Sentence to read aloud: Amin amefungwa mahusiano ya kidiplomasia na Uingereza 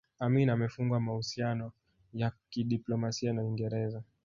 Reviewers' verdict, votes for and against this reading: rejected, 1, 2